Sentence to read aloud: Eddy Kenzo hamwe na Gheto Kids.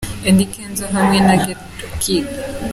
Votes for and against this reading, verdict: 2, 0, accepted